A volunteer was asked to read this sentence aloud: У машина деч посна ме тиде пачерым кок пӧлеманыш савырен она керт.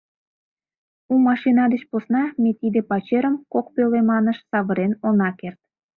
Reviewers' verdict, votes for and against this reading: accepted, 2, 0